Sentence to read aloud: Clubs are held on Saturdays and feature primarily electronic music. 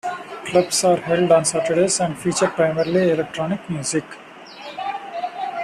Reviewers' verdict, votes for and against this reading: rejected, 0, 2